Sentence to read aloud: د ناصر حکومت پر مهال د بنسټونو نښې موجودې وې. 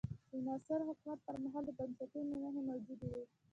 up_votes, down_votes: 1, 2